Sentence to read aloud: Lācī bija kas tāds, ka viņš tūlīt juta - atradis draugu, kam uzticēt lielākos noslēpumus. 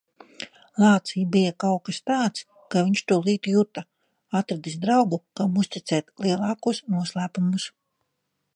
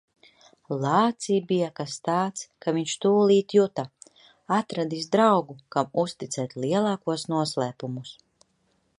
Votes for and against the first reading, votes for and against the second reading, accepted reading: 2, 3, 2, 0, second